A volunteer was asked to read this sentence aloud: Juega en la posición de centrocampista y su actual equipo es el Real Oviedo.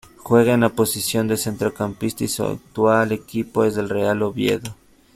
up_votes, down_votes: 0, 2